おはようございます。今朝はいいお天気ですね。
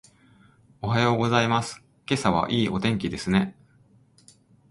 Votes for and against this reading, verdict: 4, 0, accepted